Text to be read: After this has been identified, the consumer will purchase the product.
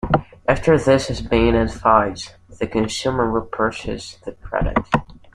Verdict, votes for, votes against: rejected, 1, 2